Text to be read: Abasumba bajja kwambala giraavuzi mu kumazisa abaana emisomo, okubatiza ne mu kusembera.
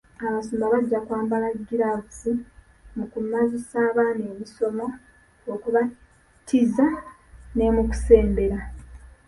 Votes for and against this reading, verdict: 1, 2, rejected